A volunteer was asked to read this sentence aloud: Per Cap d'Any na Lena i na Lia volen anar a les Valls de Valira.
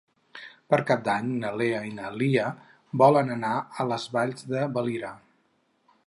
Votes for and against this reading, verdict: 4, 2, accepted